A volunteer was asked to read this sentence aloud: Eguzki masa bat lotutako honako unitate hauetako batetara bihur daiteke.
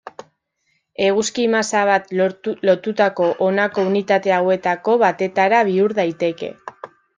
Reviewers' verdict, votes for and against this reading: rejected, 1, 2